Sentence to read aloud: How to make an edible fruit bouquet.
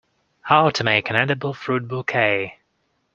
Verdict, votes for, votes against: accepted, 2, 0